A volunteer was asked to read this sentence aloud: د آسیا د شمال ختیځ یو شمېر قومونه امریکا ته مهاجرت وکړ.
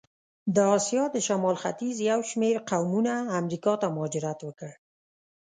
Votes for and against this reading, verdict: 2, 0, accepted